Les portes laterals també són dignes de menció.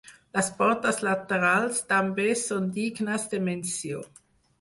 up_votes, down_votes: 4, 0